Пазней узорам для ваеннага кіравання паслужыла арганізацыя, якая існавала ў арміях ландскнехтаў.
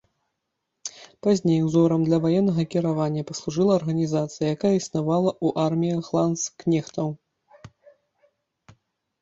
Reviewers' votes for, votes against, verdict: 2, 0, accepted